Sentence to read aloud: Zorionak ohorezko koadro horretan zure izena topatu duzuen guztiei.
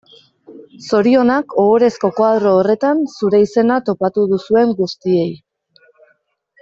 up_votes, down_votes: 2, 0